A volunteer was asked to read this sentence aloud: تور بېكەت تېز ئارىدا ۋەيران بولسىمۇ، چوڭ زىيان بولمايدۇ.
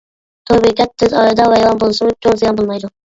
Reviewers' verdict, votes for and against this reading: rejected, 1, 2